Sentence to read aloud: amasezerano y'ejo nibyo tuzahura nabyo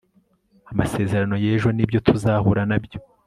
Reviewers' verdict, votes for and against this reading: accepted, 2, 0